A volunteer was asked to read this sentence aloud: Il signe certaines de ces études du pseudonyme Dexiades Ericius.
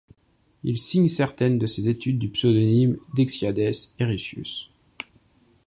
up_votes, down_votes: 2, 0